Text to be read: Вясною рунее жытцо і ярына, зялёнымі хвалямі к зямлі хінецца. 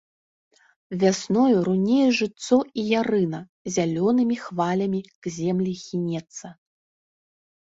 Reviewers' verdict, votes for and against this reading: rejected, 1, 2